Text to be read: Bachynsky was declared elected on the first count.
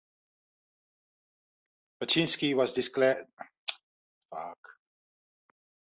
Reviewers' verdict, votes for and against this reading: rejected, 0, 2